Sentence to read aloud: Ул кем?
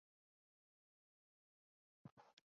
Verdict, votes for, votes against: rejected, 0, 2